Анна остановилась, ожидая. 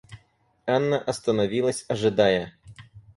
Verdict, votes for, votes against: accepted, 4, 0